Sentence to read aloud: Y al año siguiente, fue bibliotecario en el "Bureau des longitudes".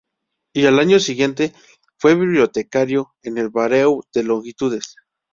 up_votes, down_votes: 0, 2